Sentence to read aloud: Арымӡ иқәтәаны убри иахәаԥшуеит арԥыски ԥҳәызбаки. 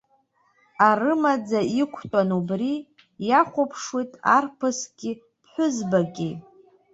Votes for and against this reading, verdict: 2, 0, accepted